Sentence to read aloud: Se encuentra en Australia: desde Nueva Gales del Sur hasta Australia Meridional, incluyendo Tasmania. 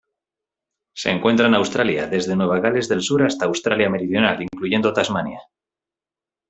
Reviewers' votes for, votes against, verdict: 2, 0, accepted